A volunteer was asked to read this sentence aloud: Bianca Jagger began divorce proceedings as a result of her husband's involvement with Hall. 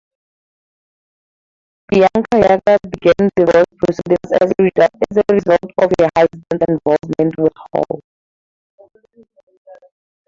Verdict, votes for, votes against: rejected, 0, 2